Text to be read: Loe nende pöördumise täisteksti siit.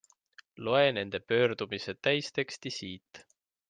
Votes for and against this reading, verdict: 2, 0, accepted